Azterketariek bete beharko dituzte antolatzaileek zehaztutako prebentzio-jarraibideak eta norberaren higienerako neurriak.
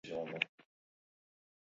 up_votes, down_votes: 0, 4